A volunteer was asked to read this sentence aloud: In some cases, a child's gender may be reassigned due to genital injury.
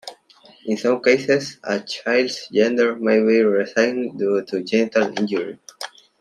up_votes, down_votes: 2, 0